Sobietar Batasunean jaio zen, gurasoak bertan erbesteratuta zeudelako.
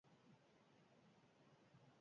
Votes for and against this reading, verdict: 0, 4, rejected